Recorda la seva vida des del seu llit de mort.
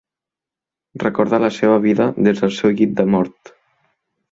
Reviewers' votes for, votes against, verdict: 2, 0, accepted